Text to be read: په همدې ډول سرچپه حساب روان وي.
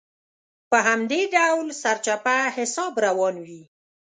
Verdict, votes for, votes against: accepted, 3, 0